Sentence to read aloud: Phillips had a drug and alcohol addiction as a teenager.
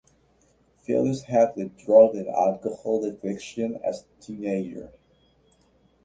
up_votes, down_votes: 2, 0